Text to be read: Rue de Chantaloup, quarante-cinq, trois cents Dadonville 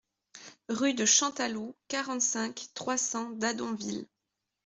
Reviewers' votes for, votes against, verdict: 2, 0, accepted